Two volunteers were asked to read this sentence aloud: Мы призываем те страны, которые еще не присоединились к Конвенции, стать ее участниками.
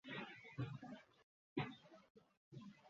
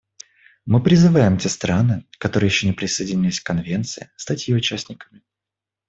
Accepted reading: second